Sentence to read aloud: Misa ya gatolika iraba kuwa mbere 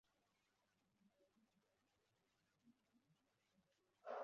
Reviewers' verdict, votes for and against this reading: rejected, 0, 2